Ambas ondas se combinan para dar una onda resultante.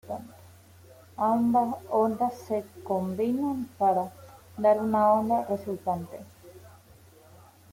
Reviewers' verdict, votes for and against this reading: accepted, 2, 0